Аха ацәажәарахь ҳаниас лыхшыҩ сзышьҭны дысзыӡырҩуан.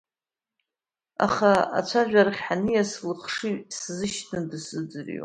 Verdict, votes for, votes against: accepted, 2, 0